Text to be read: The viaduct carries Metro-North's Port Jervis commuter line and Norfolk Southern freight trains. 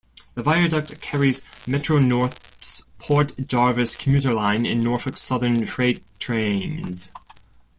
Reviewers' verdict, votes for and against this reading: rejected, 0, 2